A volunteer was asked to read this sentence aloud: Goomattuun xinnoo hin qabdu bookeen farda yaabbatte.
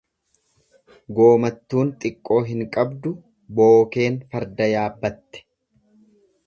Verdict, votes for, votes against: rejected, 1, 2